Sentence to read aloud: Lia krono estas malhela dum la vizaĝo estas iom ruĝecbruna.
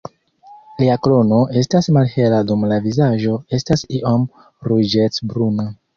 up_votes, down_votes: 2, 0